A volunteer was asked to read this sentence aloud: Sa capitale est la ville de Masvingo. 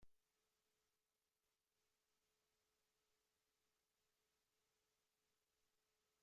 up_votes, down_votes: 0, 2